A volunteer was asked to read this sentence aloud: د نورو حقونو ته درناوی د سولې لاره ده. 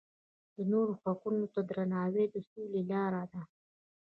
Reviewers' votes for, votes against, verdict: 1, 2, rejected